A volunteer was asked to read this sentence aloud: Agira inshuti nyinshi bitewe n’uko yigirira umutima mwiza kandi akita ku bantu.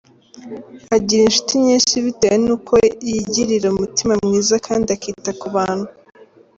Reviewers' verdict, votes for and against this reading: accepted, 3, 0